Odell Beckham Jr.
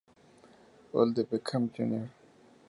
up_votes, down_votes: 2, 4